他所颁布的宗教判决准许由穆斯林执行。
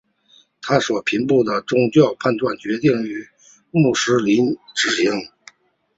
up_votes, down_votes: 1, 2